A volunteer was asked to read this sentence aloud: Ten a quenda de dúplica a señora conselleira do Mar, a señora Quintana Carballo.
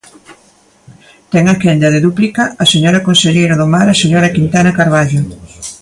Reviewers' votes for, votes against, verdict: 2, 0, accepted